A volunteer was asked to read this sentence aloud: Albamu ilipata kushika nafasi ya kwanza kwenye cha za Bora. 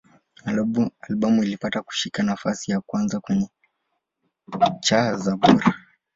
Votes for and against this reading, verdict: 4, 6, rejected